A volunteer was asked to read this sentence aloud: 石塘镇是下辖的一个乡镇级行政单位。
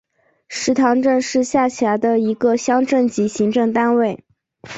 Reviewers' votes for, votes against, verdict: 3, 0, accepted